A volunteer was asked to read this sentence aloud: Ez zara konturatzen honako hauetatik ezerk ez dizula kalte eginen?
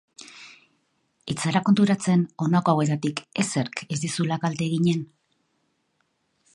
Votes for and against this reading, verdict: 2, 1, accepted